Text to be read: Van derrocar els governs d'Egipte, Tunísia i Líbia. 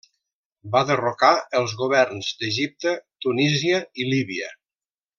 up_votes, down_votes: 1, 2